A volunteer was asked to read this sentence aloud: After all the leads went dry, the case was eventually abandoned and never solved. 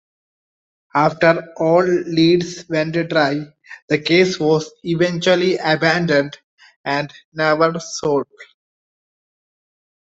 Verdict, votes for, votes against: rejected, 1, 2